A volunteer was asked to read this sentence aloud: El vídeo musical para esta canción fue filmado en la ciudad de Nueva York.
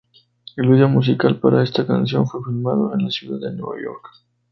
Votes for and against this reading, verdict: 2, 0, accepted